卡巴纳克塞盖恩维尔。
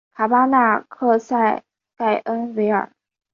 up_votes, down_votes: 3, 0